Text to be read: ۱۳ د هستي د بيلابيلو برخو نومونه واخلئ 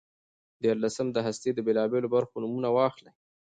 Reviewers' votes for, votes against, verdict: 0, 2, rejected